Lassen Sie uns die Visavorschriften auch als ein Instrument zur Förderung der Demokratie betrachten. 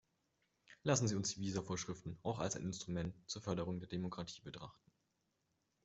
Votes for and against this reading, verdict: 2, 0, accepted